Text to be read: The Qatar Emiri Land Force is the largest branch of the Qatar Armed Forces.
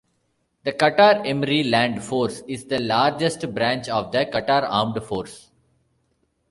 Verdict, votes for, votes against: rejected, 0, 2